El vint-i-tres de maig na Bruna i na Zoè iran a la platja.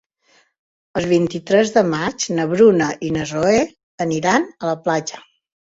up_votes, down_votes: 0, 2